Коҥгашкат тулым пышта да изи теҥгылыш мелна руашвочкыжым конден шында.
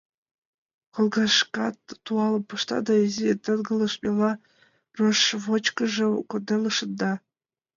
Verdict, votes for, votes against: rejected, 1, 2